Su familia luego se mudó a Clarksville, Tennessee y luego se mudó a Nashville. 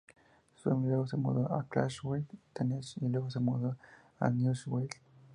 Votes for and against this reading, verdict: 2, 0, accepted